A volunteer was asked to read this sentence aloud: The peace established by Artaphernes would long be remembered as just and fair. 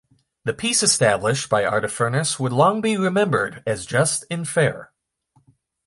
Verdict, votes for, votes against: accepted, 2, 0